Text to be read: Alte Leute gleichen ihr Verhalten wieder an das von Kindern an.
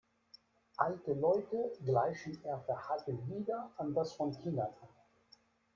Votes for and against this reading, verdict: 2, 0, accepted